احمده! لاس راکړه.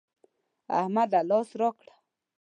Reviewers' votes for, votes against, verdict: 2, 0, accepted